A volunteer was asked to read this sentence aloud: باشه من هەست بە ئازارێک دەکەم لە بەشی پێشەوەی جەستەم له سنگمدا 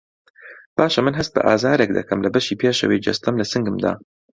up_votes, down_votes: 2, 0